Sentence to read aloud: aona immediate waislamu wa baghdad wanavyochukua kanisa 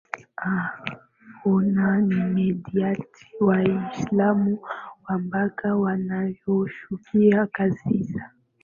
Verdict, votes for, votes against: rejected, 0, 2